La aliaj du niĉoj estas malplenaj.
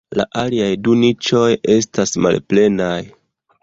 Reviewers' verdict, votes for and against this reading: accepted, 2, 1